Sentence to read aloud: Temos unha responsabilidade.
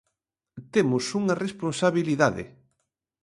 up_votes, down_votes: 2, 0